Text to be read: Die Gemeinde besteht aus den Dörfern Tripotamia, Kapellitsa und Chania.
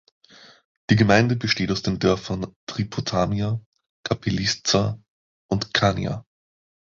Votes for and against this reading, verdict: 1, 2, rejected